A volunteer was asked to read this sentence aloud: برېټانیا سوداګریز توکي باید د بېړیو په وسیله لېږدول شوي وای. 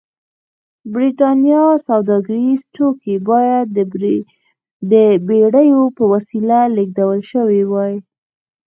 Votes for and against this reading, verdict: 1, 2, rejected